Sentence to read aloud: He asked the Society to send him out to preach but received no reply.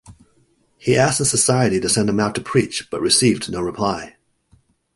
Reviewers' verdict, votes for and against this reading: accepted, 2, 0